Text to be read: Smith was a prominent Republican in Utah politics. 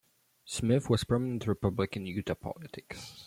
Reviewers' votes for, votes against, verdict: 1, 2, rejected